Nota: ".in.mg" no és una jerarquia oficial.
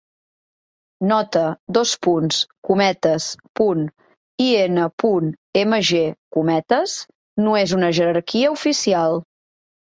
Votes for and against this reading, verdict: 3, 0, accepted